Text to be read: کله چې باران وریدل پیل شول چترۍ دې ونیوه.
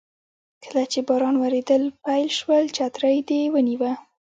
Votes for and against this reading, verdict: 1, 2, rejected